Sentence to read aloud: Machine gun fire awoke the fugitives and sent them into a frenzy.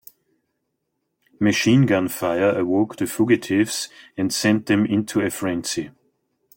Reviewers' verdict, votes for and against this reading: rejected, 0, 2